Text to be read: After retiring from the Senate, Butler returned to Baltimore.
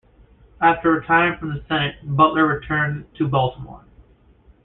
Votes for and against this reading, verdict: 2, 0, accepted